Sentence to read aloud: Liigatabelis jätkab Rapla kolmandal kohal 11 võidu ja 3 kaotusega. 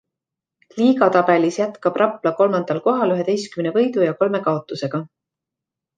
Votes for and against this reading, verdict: 0, 2, rejected